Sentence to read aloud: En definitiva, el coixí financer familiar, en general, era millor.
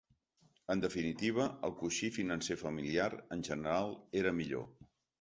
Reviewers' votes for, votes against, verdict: 3, 0, accepted